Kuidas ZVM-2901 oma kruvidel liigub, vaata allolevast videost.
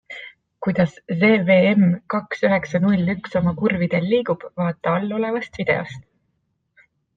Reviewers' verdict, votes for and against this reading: rejected, 0, 2